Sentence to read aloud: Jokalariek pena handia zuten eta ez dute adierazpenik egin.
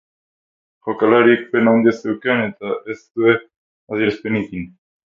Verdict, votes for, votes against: rejected, 0, 6